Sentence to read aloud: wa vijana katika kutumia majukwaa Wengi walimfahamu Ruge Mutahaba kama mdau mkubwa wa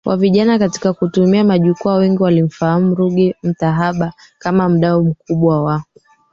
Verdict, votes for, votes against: rejected, 0, 2